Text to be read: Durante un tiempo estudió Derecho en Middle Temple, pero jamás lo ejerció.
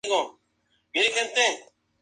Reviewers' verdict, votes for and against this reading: rejected, 0, 2